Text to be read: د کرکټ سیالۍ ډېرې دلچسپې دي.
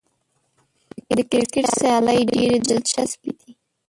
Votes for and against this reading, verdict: 1, 2, rejected